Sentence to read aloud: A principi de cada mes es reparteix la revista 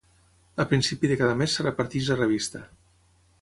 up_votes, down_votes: 6, 9